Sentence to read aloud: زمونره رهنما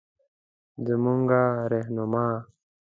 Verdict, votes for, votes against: accepted, 2, 0